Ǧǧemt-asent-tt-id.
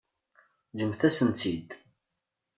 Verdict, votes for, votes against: rejected, 1, 2